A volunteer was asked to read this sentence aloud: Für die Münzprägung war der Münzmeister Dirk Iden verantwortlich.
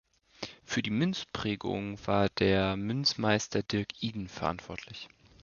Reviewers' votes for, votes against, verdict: 2, 0, accepted